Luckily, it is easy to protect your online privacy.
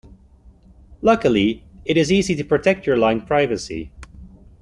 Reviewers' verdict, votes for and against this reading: rejected, 1, 2